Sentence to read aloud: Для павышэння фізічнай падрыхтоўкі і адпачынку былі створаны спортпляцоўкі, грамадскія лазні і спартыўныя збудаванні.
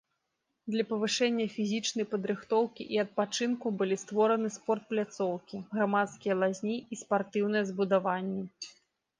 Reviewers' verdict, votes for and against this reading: rejected, 1, 2